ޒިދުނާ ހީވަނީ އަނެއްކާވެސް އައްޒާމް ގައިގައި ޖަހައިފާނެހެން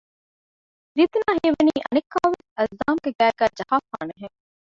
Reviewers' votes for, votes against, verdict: 0, 2, rejected